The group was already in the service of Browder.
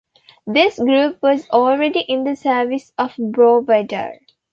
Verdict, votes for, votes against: rejected, 0, 2